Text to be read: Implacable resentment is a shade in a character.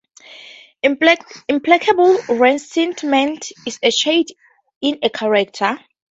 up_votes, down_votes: 2, 0